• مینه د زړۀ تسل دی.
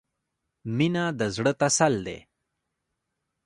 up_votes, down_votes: 2, 1